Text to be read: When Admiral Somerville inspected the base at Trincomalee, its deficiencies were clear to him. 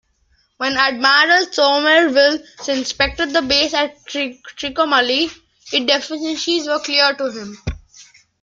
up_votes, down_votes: 1, 2